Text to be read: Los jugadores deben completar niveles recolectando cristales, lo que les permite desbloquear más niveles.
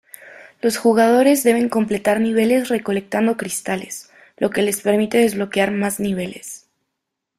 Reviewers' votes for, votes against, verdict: 2, 0, accepted